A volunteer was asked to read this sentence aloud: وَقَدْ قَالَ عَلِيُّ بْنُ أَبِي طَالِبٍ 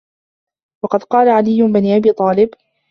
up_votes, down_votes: 2, 1